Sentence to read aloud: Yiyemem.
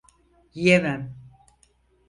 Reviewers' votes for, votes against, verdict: 4, 0, accepted